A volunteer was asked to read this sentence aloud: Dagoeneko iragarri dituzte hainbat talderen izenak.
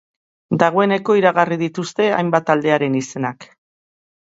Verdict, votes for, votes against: rejected, 1, 2